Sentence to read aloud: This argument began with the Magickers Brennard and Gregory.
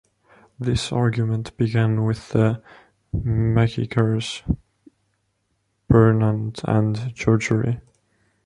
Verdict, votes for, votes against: rejected, 0, 3